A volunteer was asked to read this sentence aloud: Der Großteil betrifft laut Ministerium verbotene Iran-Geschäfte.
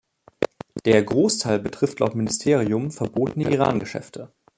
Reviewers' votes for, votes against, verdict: 2, 0, accepted